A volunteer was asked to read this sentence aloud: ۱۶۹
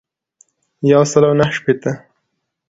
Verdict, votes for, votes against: rejected, 0, 2